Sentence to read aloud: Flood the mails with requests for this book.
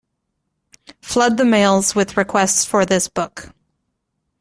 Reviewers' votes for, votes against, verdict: 2, 0, accepted